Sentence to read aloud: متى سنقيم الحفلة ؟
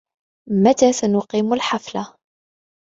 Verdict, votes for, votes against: accepted, 3, 0